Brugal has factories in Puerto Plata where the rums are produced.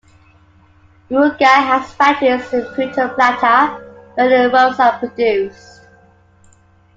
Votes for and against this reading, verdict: 2, 0, accepted